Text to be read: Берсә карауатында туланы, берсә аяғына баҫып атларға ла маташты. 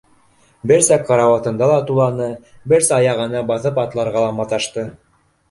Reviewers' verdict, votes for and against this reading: accepted, 2, 1